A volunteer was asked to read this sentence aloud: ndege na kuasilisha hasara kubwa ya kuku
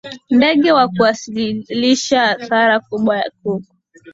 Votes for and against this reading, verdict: 0, 2, rejected